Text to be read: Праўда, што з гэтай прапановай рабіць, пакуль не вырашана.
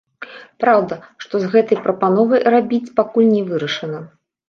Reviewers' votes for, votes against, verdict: 2, 0, accepted